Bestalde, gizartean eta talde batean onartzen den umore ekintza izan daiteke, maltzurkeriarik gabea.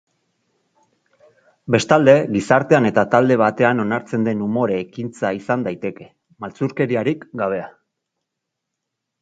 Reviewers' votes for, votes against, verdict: 2, 0, accepted